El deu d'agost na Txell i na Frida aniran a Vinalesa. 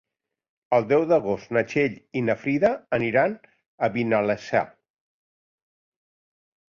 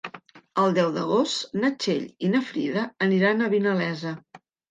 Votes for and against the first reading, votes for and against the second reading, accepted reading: 1, 2, 3, 0, second